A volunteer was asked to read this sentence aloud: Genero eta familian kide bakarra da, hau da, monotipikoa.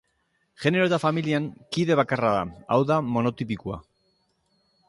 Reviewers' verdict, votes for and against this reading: accepted, 2, 0